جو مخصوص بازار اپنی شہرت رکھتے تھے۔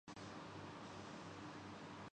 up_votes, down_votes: 0, 2